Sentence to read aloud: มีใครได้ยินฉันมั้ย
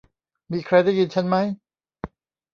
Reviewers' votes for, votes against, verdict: 1, 2, rejected